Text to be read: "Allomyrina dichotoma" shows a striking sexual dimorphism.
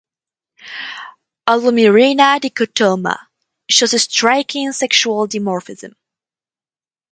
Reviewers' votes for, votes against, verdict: 4, 0, accepted